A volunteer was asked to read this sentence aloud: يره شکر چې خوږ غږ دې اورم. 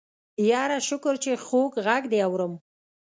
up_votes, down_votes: 2, 0